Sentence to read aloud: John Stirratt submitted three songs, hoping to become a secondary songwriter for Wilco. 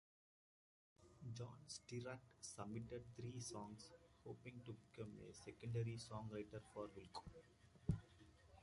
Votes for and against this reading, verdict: 2, 0, accepted